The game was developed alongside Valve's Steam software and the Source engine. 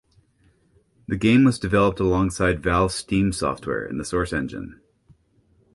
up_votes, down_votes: 2, 0